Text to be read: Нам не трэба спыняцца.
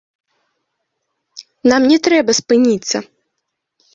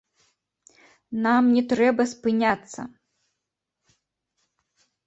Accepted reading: second